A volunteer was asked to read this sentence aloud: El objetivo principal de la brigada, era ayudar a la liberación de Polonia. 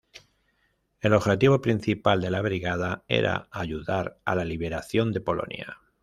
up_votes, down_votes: 2, 0